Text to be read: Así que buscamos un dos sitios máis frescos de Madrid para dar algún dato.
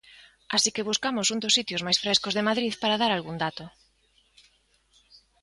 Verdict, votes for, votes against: accepted, 2, 0